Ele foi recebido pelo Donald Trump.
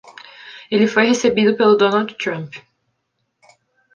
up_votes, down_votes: 2, 0